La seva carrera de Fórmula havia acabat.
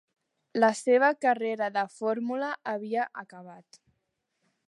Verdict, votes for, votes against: accepted, 3, 0